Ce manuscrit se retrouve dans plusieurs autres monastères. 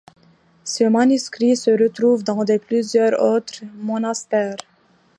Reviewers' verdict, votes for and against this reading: rejected, 1, 2